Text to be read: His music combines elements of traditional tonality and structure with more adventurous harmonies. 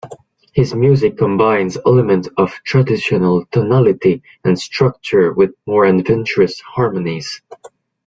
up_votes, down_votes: 2, 0